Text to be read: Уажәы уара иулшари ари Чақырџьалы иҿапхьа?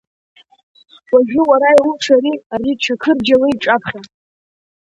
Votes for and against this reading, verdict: 2, 0, accepted